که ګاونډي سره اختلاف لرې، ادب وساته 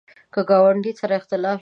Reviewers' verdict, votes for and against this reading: rejected, 0, 2